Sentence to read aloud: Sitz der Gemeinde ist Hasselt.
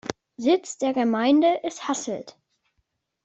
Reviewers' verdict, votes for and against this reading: accepted, 2, 0